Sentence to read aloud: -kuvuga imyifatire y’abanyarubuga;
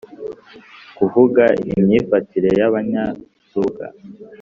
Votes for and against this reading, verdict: 3, 0, accepted